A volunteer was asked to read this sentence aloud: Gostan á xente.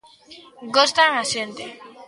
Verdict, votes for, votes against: rejected, 1, 2